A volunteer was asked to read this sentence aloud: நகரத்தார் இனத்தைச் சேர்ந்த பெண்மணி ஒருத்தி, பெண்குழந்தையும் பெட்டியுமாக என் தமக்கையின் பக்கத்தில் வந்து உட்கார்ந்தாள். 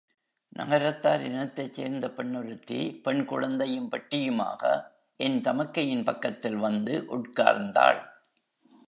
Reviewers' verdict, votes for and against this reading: rejected, 1, 2